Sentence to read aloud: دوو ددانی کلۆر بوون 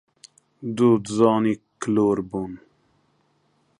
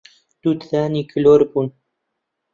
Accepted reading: second